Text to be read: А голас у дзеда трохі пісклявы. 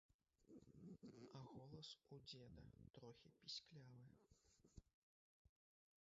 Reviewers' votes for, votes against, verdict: 0, 3, rejected